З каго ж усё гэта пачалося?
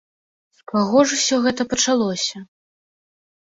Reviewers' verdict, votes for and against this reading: accepted, 2, 1